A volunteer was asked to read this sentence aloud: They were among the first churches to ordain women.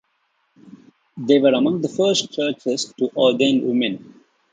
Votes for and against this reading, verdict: 2, 0, accepted